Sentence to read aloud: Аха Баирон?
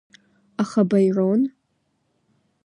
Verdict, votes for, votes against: accepted, 2, 1